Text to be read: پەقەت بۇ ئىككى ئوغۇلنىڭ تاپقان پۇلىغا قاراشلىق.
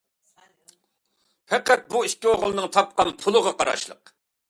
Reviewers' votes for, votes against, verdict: 2, 0, accepted